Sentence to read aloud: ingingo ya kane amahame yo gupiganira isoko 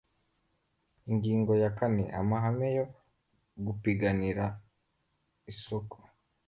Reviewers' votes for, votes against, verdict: 2, 0, accepted